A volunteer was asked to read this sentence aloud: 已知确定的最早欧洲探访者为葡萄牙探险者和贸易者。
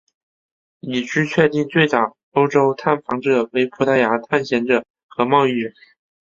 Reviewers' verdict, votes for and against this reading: rejected, 2, 3